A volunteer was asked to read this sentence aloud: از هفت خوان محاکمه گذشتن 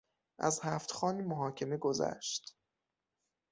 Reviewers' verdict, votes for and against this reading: rejected, 0, 6